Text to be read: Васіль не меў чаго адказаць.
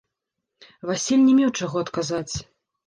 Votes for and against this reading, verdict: 0, 2, rejected